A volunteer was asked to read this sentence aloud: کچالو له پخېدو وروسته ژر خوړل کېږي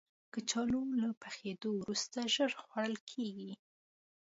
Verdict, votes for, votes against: accepted, 2, 0